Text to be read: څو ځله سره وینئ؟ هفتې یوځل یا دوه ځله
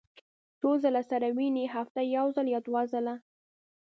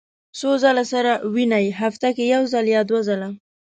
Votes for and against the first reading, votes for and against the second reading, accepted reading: 1, 2, 2, 1, second